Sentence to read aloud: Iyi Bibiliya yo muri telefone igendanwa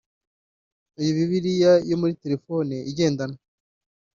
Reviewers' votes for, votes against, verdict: 1, 2, rejected